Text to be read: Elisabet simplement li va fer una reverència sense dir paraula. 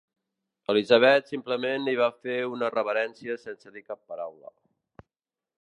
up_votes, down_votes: 0, 2